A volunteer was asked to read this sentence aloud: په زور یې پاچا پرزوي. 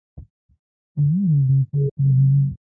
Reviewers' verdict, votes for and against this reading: rejected, 1, 2